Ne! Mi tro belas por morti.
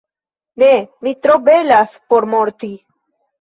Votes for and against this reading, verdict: 0, 2, rejected